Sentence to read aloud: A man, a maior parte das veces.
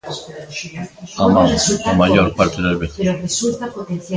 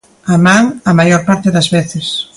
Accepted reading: second